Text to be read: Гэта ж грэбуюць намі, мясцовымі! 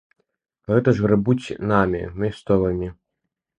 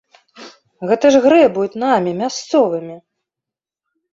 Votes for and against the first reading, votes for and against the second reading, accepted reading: 1, 2, 2, 0, second